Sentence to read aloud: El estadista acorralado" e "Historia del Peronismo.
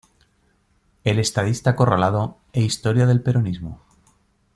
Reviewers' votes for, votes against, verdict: 2, 1, accepted